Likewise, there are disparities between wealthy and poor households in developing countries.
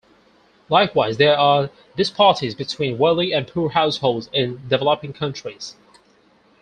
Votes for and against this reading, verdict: 0, 4, rejected